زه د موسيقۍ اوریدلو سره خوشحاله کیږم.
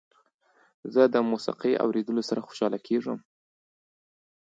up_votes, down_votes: 2, 0